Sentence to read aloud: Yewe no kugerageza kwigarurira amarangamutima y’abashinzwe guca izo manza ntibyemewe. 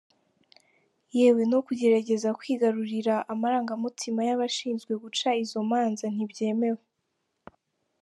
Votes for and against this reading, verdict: 2, 0, accepted